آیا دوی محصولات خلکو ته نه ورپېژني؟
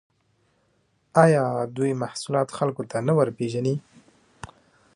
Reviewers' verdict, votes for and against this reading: accepted, 2, 0